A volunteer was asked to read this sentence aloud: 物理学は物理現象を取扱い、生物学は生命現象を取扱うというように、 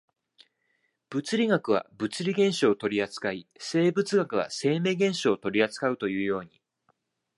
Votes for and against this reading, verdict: 2, 1, accepted